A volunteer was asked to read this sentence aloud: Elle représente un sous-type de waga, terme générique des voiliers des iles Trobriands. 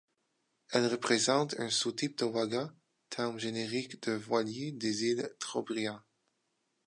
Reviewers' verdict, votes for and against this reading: rejected, 0, 2